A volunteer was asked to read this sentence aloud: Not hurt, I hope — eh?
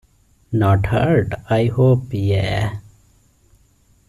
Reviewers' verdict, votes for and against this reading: rejected, 0, 2